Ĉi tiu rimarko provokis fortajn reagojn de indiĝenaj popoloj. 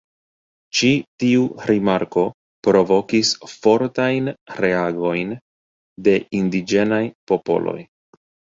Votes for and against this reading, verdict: 1, 2, rejected